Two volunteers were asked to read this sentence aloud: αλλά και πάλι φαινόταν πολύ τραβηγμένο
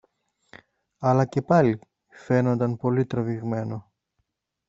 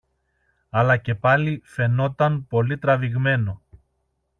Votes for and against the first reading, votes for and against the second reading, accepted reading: 2, 3, 2, 0, second